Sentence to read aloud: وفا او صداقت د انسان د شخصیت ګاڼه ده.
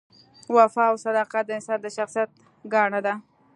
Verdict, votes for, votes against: accepted, 3, 0